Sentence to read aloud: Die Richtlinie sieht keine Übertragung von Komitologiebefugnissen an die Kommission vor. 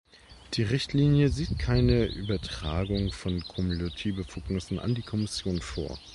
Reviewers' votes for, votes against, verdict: 1, 2, rejected